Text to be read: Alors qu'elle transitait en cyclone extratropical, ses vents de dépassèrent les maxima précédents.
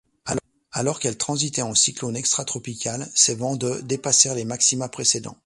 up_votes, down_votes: 0, 2